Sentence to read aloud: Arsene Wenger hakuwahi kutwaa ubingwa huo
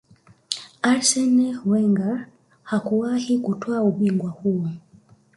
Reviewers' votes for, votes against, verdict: 2, 1, accepted